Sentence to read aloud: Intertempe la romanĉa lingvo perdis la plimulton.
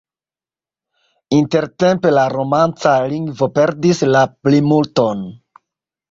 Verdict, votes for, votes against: accepted, 2, 1